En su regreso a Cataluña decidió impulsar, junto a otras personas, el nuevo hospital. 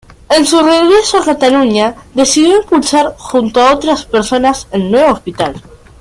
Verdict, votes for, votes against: accepted, 2, 0